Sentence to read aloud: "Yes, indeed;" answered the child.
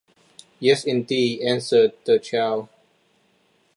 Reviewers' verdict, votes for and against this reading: accepted, 2, 0